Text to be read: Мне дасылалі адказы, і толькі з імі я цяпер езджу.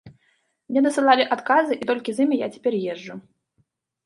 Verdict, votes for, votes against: accepted, 2, 0